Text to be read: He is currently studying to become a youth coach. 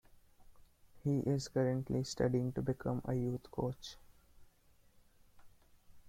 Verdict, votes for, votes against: accepted, 2, 0